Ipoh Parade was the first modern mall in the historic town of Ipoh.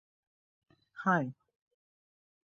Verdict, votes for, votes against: rejected, 0, 2